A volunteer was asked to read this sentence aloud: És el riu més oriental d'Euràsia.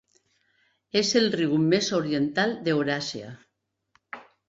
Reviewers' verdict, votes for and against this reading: accepted, 2, 0